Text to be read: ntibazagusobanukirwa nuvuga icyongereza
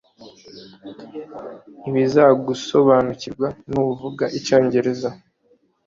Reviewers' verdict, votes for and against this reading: rejected, 1, 2